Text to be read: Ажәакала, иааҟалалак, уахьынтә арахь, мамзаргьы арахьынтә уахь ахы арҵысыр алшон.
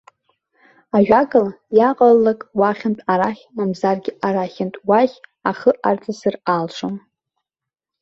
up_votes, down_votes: 1, 2